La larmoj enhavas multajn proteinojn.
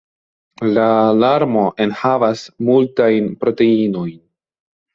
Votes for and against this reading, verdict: 0, 2, rejected